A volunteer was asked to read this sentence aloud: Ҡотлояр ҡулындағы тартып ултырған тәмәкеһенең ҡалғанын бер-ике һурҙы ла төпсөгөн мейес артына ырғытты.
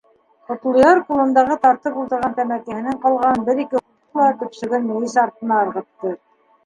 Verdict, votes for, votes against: accepted, 2, 0